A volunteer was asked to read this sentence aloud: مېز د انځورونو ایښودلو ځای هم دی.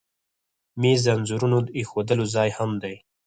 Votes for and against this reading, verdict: 0, 4, rejected